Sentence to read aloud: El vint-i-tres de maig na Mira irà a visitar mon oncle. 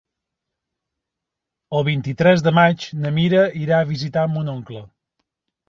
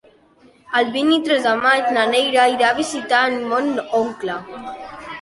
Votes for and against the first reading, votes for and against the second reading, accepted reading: 6, 0, 0, 2, first